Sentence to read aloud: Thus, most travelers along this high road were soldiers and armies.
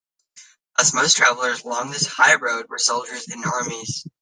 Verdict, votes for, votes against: rejected, 1, 2